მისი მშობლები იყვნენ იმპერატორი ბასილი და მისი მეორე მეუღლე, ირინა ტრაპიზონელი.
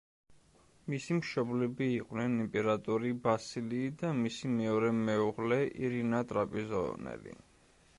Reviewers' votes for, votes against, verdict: 0, 2, rejected